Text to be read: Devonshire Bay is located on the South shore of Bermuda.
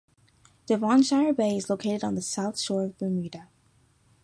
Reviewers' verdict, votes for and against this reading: accepted, 2, 0